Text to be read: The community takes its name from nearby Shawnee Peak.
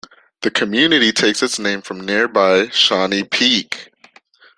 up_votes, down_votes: 2, 0